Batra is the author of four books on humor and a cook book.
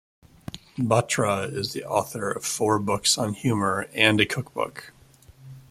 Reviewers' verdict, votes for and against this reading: accepted, 2, 0